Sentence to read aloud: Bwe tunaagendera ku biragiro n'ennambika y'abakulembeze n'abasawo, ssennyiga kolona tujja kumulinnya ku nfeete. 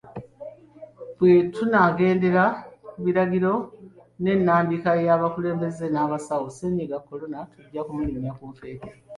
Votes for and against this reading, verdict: 2, 0, accepted